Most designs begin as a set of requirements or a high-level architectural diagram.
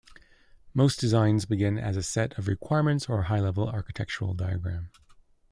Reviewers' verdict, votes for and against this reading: accepted, 2, 0